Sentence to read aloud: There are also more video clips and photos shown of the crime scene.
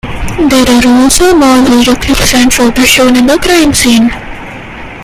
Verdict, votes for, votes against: rejected, 0, 2